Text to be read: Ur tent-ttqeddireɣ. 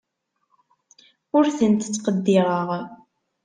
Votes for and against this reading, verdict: 2, 0, accepted